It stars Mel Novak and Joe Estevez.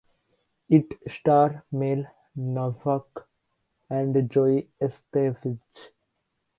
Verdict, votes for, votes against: rejected, 0, 2